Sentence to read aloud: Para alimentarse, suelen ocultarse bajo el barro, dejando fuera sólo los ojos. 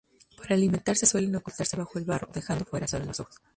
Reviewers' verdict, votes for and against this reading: accepted, 2, 0